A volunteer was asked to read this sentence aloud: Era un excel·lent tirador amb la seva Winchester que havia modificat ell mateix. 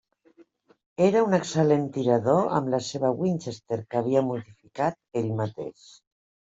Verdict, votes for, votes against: rejected, 0, 2